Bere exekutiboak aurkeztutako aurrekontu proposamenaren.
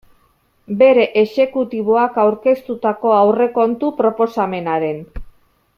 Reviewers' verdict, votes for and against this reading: accepted, 4, 0